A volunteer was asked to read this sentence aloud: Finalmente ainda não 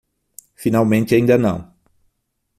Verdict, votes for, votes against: accepted, 6, 0